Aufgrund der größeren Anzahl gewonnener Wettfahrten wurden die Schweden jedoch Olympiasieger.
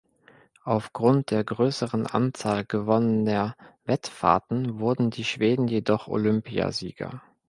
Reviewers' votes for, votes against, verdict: 2, 0, accepted